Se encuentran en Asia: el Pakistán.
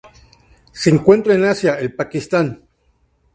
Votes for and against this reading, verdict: 2, 0, accepted